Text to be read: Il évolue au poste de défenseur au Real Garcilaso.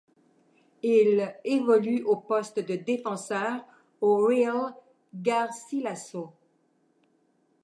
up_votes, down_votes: 2, 1